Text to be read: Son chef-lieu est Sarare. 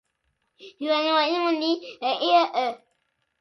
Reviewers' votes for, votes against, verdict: 0, 2, rejected